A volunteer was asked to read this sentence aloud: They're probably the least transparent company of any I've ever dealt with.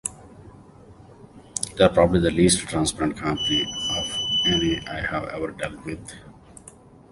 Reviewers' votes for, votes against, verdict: 1, 2, rejected